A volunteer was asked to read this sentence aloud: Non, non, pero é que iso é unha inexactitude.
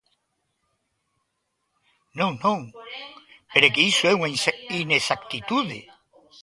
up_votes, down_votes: 0, 2